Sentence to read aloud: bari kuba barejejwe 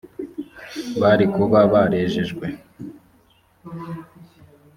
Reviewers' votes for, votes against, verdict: 2, 0, accepted